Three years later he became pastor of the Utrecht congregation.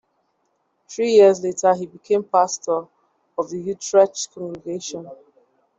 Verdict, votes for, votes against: accepted, 2, 0